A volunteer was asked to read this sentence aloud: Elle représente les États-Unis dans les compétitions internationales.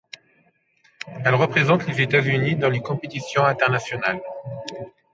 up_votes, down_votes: 2, 0